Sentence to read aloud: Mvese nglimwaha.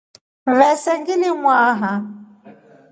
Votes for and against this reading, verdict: 3, 0, accepted